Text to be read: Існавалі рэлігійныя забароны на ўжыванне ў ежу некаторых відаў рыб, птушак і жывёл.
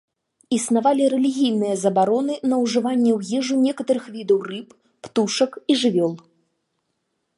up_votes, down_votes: 1, 2